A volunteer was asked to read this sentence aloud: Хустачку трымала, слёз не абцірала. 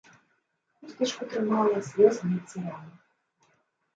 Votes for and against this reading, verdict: 1, 2, rejected